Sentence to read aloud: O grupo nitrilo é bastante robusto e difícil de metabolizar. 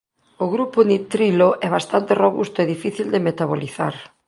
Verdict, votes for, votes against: accepted, 2, 0